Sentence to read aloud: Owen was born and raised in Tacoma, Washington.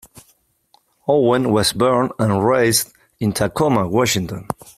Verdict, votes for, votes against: accepted, 4, 0